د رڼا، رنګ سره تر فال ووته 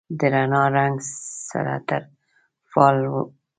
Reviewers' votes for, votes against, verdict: 1, 2, rejected